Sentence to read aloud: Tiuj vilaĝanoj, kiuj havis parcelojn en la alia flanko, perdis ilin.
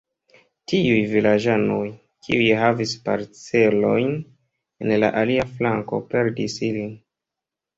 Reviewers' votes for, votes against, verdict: 2, 0, accepted